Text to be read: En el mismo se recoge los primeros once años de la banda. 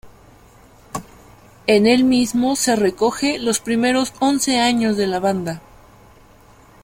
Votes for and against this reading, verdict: 0, 2, rejected